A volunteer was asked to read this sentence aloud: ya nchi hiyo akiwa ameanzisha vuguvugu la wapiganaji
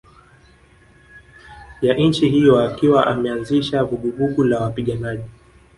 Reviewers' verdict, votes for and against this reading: accepted, 2, 0